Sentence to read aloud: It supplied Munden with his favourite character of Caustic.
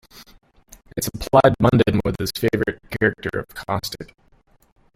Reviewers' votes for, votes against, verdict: 0, 2, rejected